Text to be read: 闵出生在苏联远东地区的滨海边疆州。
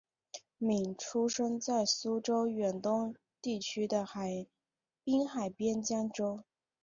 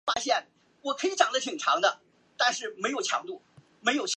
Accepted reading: first